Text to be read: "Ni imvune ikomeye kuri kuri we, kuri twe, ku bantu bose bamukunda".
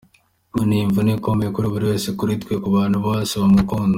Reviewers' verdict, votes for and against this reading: accepted, 2, 0